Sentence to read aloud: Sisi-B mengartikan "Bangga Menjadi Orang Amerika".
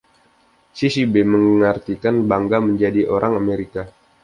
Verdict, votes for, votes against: rejected, 1, 2